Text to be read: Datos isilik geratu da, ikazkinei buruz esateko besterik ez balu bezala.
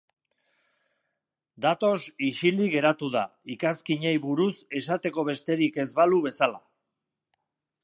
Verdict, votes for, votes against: accepted, 2, 0